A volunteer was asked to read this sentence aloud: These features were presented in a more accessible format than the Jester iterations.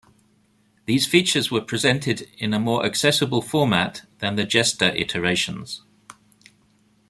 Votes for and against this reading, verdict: 2, 0, accepted